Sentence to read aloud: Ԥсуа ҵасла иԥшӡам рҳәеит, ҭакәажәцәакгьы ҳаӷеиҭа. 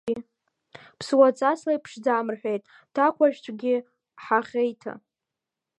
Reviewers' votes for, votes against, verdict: 1, 2, rejected